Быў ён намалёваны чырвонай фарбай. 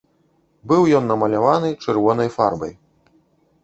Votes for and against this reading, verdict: 0, 2, rejected